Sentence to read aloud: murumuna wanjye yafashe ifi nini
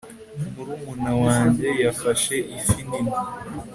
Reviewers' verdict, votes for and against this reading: accepted, 2, 0